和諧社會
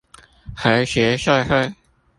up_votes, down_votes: 0, 2